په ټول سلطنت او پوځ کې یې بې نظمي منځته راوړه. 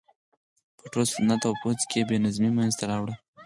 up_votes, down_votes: 0, 4